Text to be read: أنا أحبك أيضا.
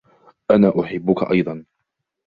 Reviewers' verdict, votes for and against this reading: accepted, 2, 0